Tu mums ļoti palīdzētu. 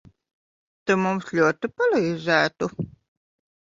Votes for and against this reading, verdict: 1, 2, rejected